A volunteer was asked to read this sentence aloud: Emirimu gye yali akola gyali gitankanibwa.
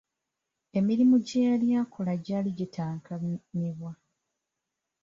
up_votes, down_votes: 1, 2